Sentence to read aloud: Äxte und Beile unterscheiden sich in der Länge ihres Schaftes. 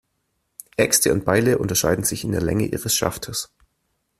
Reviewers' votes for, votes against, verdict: 2, 0, accepted